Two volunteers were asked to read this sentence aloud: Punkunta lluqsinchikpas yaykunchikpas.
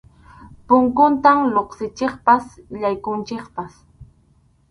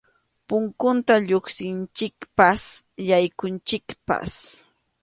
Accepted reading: second